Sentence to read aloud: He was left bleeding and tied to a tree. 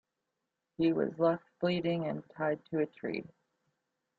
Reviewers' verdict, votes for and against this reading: accepted, 2, 0